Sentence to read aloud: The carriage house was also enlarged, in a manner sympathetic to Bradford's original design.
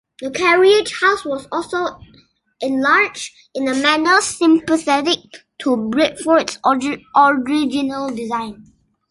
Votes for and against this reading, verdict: 2, 1, accepted